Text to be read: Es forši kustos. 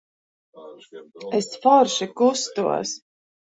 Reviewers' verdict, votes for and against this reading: rejected, 1, 2